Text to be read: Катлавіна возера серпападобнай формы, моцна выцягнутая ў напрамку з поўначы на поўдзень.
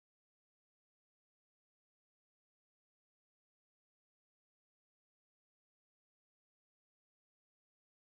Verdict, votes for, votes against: rejected, 0, 2